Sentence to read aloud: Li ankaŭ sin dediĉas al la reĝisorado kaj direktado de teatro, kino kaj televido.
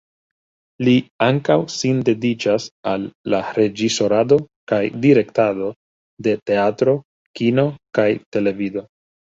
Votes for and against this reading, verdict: 2, 0, accepted